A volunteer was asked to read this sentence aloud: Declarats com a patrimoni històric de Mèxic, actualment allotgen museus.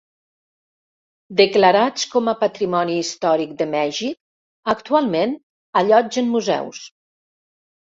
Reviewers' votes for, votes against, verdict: 0, 2, rejected